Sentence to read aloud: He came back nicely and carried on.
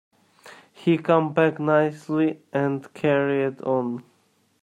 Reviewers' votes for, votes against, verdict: 0, 2, rejected